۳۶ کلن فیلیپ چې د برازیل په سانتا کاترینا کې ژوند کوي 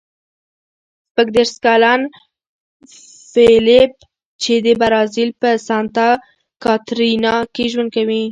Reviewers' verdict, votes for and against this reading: rejected, 0, 2